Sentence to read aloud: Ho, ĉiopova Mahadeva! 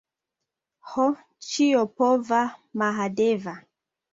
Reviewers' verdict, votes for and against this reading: accepted, 2, 1